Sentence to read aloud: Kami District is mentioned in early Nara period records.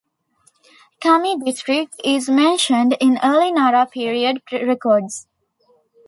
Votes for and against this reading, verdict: 2, 0, accepted